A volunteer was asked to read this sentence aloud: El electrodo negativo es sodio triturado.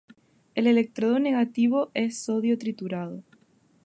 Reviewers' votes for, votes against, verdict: 4, 0, accepted